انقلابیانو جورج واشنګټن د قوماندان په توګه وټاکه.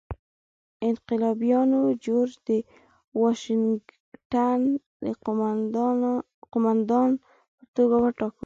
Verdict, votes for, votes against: rejected, 2, 4